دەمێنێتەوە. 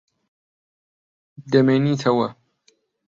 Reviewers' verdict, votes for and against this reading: rejected, 1, 2